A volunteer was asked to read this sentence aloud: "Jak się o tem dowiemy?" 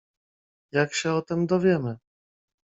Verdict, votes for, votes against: accepted, 2, 0